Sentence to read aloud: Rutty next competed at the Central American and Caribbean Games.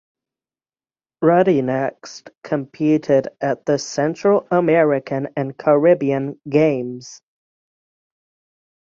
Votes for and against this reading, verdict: 6, 0, accepted